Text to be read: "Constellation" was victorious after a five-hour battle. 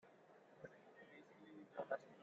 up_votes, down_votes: 0, 3